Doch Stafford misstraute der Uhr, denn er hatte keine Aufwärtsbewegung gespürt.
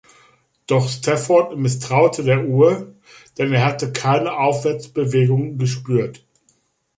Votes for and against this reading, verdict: 2, 0, accepted